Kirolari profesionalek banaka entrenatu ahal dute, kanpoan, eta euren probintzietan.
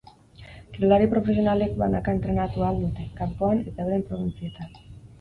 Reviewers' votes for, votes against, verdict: 8, 0, accepted